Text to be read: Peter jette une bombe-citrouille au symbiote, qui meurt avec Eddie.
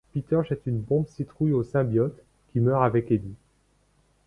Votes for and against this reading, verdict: 2, 0, accepted